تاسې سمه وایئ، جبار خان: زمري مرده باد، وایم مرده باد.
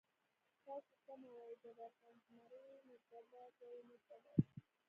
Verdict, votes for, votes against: rejected, 0, 2